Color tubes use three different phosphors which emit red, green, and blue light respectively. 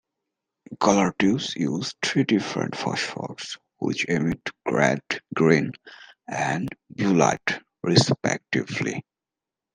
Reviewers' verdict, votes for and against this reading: accepted, 2, 0